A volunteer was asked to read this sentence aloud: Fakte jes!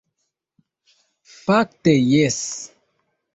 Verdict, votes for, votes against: accepted, 2, 0